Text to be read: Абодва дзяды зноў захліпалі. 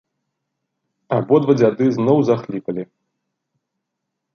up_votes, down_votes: 3, 0